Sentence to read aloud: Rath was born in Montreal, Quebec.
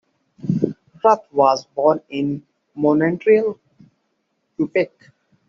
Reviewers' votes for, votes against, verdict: 0, 2, rejected